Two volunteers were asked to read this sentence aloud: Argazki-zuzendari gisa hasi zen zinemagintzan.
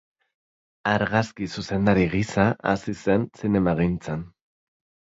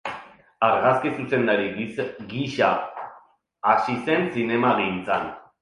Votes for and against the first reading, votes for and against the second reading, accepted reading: 2, 0, 1, 2, first